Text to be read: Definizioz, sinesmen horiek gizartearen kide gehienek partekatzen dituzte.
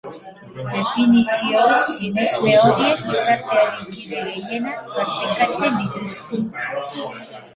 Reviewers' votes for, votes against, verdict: 0, 3, rejected